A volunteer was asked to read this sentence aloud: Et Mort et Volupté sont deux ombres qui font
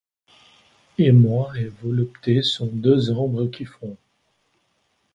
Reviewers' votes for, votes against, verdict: 2, 1, accepted